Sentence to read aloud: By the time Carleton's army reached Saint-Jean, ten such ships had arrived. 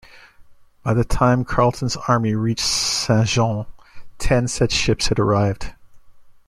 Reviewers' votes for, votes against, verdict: 0, 2, rejected